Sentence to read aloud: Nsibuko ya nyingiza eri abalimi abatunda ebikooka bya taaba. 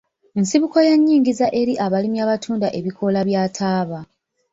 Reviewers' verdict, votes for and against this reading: accepted, 2, 1